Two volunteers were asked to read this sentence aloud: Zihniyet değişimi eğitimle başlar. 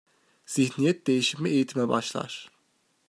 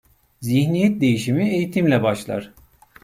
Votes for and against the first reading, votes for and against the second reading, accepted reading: 1, 2, 2, 0, second